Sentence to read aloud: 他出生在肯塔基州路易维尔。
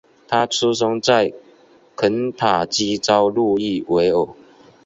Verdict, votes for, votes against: accepted, 3, 0